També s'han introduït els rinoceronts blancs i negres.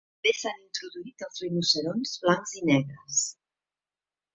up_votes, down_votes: 0, 2